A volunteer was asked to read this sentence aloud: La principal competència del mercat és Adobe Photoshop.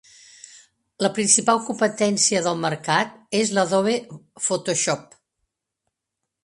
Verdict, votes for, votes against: rejected, 1, 2